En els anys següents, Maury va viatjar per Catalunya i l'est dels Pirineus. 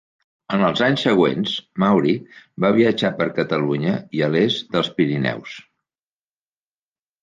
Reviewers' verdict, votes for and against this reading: rejected, 0, 2